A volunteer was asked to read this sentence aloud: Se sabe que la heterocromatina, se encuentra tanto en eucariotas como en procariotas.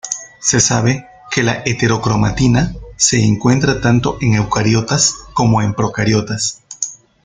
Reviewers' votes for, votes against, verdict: 1, 2, rejected